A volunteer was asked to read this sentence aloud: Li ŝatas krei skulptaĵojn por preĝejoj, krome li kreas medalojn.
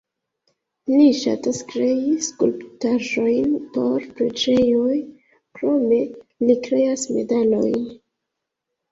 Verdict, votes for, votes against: rejected, 1, 2